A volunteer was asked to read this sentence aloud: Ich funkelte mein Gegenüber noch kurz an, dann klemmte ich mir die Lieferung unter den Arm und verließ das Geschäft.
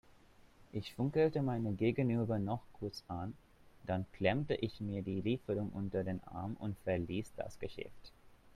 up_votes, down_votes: 1, 2